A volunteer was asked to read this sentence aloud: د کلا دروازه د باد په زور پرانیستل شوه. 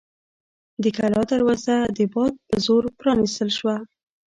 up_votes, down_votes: 1, 2